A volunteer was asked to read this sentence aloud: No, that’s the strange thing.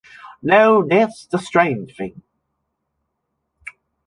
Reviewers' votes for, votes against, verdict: 2, 0, accepted